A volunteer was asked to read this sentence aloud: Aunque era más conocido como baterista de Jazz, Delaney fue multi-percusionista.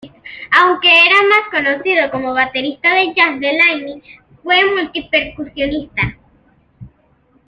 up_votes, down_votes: 2, 0